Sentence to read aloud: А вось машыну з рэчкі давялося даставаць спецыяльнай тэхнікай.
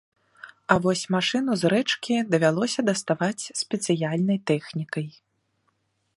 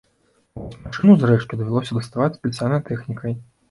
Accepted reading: first